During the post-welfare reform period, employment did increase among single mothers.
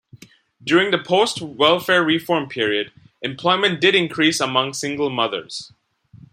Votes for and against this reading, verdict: 2, 0, accepted